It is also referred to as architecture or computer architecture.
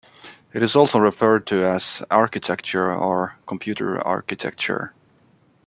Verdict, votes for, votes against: accepted, 2, 0